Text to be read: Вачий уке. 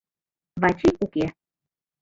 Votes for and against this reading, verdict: 2, 0, accepted